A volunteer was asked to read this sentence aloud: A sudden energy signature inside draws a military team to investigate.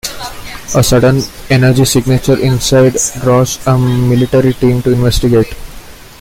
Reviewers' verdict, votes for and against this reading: accepted, 2, 1